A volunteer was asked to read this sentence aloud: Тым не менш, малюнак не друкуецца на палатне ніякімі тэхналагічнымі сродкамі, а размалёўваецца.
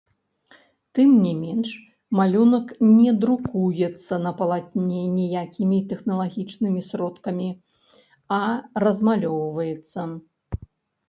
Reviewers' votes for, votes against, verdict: 1, 2, rejected